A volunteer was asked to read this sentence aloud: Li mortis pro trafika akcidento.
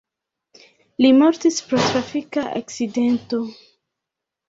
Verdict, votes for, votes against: rejected, 1, 2